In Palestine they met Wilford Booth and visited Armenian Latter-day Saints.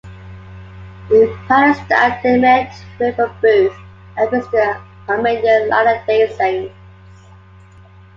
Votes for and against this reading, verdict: 0, 2, rejected